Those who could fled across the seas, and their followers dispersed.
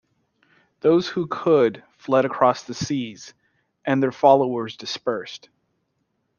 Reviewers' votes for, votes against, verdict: 2, 0, accepted